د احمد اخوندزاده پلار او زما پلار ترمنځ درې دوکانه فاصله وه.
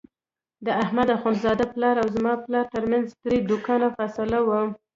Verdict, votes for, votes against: accepted, 2, 0